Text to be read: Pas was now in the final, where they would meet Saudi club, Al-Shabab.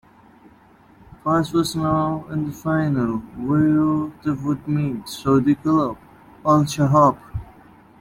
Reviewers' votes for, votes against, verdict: 2, 1, accepted